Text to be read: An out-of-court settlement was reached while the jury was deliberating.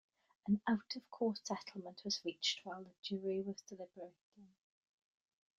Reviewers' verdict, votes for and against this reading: rejected, 1, 3